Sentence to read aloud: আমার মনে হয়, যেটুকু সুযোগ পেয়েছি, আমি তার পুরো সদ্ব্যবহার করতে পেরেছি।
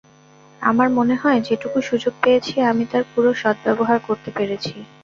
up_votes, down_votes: 0, 2